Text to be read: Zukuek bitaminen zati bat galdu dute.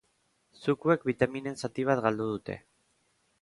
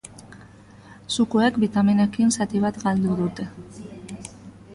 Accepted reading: first